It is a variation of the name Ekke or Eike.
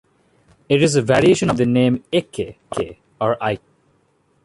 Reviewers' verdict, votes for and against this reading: accepted, 2, 0